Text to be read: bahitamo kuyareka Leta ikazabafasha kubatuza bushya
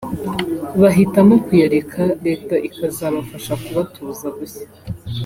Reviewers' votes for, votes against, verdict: 2, 0, accepted